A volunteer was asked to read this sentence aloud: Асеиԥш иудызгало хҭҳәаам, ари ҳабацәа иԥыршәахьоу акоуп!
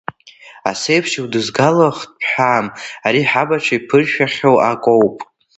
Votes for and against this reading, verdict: 0, 2, rejected